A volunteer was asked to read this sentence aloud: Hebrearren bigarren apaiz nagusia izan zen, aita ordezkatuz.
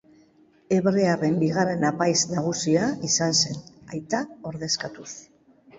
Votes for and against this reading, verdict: 2, 1, accepted